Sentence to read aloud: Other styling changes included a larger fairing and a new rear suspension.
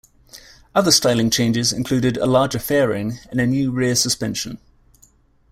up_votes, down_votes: 2, 0